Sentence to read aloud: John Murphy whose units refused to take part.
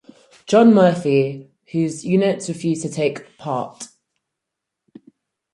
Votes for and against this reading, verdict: 4, 0, accepted